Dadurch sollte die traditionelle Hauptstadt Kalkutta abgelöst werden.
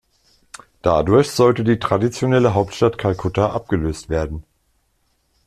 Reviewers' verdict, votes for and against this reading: accepted, 2, 0